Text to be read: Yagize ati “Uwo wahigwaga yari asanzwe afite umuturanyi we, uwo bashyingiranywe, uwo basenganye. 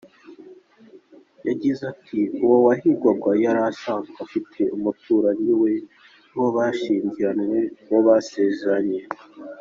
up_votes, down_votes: 2, 0